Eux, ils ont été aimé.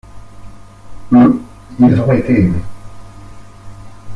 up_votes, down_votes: 1, 2